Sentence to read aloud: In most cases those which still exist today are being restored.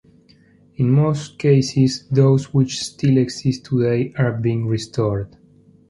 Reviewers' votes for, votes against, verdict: 2, 0, accepted